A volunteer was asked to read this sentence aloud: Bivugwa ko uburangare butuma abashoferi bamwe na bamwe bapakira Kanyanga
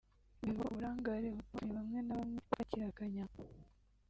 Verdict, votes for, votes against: rejected, 2, 3